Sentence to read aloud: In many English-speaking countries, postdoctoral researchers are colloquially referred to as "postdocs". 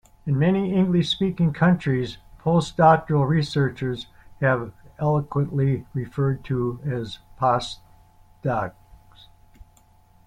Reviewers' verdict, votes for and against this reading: rejected, 0, 2